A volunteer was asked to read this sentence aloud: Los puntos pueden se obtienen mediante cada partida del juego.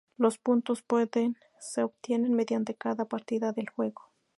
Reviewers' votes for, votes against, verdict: 2, 0, accepted